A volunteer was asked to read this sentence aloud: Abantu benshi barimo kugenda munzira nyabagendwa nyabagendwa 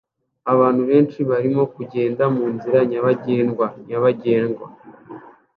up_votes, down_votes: 2, 0